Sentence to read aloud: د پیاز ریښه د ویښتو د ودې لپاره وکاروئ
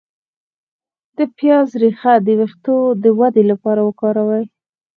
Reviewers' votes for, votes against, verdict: 2, 4, rejected